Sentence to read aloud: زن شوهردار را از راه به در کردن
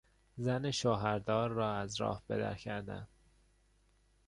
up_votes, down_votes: 2, 0